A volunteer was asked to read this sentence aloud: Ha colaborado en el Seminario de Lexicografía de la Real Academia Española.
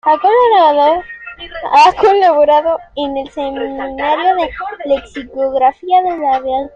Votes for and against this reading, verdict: 0, 2, rejected